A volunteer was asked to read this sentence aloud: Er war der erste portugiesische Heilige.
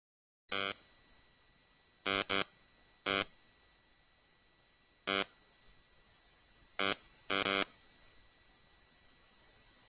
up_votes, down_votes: 0, 3